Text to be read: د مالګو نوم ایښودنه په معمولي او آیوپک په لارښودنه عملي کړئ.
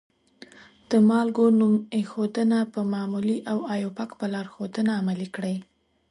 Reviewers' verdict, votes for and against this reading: accepted, 2, 0